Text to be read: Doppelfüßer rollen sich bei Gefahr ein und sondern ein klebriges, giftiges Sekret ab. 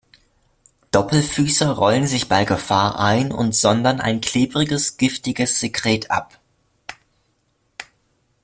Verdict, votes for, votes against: accepted, 2, 1